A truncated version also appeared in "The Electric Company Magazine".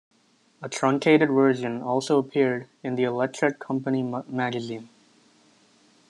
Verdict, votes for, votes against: rejected, 0, 2